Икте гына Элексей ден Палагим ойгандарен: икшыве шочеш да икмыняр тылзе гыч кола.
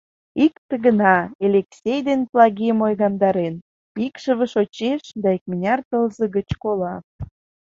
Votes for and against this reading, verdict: 2, 1, accepted